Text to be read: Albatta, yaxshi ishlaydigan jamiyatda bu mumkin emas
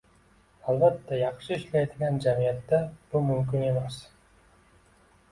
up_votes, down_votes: 2, 1